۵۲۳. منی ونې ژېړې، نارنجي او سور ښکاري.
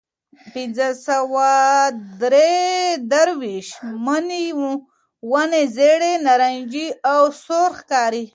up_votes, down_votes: 0, 2